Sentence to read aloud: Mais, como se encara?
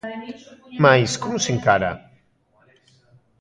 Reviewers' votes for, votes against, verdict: 2, 1, accepted